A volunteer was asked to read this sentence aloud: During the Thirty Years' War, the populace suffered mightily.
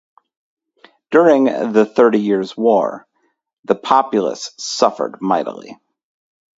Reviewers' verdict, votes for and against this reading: accepted, 4, 0